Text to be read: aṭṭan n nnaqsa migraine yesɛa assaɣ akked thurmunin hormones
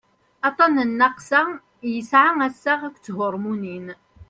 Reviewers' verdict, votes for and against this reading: rejected, 0, 2